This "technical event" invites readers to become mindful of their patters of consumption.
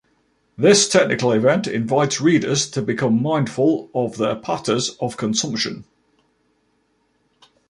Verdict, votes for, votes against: accepted, 2, 0